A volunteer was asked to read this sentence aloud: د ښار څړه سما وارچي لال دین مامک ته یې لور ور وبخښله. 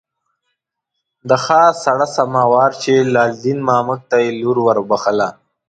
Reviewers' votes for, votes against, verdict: 2, 0, accepted